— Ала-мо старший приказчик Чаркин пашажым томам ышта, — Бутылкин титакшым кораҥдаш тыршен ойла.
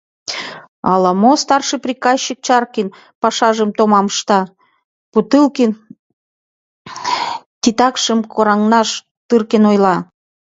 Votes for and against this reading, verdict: 0, 2, rejected